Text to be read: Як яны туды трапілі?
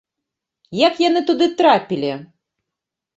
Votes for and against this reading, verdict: 2, 1, accepted